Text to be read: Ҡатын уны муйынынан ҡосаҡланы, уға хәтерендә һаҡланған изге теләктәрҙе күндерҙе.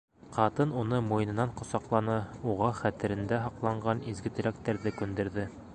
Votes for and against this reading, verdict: 1, 2, rejected